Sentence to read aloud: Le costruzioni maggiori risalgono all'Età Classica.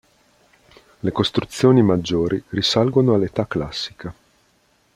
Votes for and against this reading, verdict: 2, 0, accepted